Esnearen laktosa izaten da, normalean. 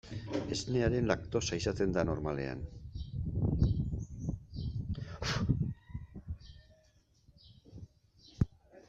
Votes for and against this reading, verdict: 0, 2, rejected